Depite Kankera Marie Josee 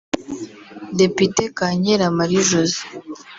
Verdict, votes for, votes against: rejected, 1, 2